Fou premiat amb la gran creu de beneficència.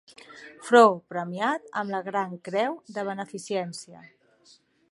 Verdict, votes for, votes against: rejected, 0, 2